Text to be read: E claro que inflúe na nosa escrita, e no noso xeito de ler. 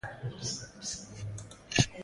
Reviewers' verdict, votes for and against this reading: rejected, 0, 2